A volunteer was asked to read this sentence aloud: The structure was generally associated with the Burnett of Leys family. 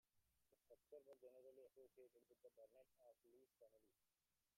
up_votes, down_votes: 0, 2